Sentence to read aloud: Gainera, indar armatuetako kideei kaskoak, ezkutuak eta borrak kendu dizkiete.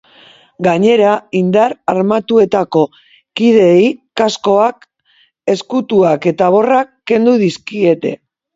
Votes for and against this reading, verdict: 3, 0, accepted